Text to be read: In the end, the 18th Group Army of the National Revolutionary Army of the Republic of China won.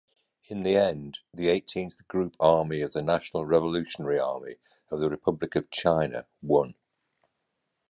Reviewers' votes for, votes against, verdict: 0, 2, rejected